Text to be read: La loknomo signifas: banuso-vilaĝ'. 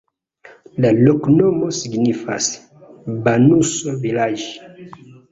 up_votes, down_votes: 2, 1